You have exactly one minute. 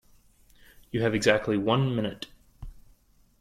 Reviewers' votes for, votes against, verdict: 2, 0, accepted